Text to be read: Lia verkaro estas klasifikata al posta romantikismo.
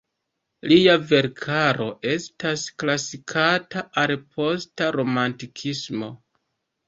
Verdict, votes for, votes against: rejected, 1, 2